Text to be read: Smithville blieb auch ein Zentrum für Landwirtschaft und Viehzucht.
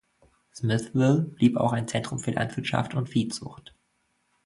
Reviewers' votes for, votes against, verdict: 2, 0, accepted